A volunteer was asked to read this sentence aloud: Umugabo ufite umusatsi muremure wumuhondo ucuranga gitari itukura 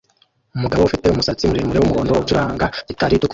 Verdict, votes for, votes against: rejected, 0, 2